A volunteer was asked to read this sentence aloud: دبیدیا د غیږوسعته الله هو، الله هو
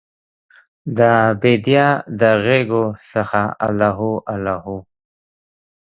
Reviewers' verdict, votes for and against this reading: rejected, 1, 2